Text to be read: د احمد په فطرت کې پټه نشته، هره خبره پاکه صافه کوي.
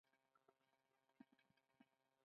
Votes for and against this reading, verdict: 2, 0, accepted